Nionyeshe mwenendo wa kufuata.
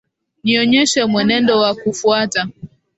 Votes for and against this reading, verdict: 2, 1, accepted